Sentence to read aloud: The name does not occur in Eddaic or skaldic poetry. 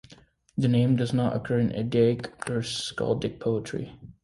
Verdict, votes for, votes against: accepted, 3, 0